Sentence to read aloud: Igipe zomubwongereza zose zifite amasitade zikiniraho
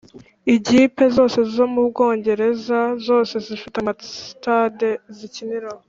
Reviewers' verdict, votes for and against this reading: rejected, 1, 2